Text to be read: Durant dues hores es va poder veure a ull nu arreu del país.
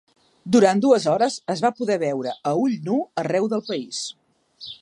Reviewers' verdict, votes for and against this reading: accepted, 3, 0